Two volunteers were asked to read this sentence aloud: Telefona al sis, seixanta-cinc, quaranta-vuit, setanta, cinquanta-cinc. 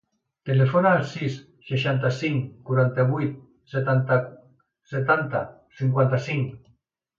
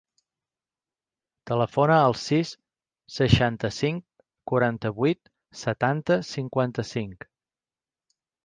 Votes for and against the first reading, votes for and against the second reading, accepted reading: 0, 2, 3, 0, second